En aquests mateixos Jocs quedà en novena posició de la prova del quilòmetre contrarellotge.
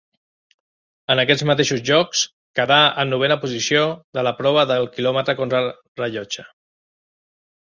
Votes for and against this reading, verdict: 1, 2, rejected